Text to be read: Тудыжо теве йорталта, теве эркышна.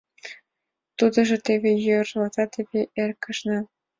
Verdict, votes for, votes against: rejected, 1, 2